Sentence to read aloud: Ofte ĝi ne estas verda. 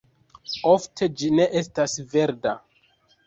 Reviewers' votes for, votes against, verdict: 2, 1, accepted